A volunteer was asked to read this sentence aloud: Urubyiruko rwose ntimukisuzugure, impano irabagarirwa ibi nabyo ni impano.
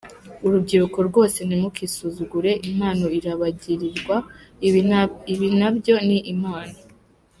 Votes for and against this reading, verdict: 0, 2, rejected